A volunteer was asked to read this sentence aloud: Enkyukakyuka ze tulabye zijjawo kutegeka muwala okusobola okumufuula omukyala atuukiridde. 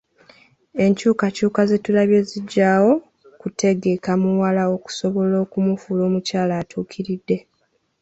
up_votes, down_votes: 2, 1